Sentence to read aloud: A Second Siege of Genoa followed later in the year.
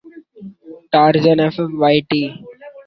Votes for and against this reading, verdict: 0, 2, rejected